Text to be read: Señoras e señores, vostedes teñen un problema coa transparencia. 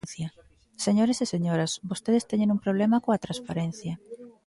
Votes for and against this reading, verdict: 0, 2, rejected